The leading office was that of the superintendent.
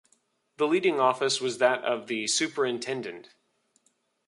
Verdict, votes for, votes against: accepted, 2, 0